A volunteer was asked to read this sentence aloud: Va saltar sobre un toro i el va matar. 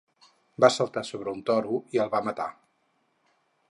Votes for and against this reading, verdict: 4, 0, accepted